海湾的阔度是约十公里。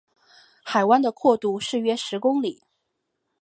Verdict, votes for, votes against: accepted, 4, 0